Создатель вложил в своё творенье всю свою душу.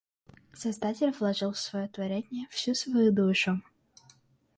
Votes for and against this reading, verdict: 2, 0, accepted